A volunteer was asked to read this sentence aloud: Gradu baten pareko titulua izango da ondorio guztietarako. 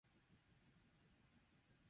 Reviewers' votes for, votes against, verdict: 2, 4, rejected